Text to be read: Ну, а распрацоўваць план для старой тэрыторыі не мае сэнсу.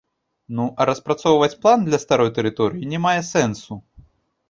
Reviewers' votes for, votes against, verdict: 0, 2, rejected